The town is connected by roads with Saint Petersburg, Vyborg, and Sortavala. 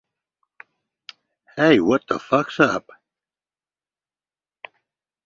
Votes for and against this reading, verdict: 1, 2, rejected